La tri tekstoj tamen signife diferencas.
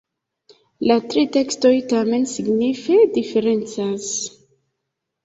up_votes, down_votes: 2, 0